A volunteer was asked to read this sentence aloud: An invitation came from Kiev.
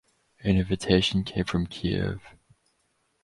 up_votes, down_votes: 2, 2